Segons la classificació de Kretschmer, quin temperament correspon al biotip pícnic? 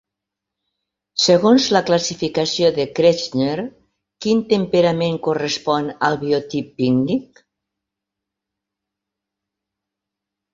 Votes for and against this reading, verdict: 2, 1, accepted